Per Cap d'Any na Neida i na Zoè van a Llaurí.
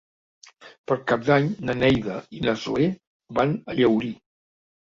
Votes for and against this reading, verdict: 1, 2, rejected